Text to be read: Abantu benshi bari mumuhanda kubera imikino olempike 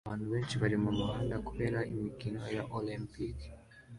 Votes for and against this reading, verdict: 2, 0, accepted